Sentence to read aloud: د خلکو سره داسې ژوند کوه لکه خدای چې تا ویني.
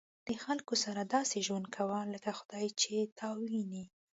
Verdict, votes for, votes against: accepted, 2, 0